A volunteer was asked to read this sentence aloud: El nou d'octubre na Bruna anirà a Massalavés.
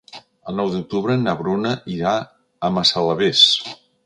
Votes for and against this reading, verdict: 0, 2, rejected